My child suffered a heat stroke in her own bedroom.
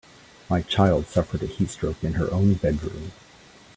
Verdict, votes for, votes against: accepted, 2, 0